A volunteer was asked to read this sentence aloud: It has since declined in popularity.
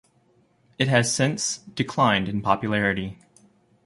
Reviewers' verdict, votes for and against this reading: accepted, 2, 0